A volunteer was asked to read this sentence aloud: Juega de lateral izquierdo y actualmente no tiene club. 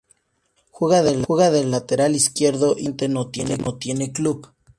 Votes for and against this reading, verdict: 0, 2, rejected